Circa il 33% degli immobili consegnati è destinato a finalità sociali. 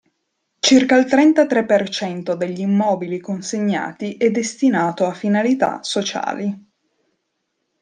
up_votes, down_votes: 0, 2